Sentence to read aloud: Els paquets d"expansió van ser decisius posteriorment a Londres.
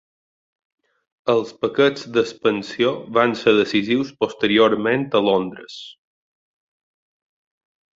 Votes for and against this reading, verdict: 2, 0, accepted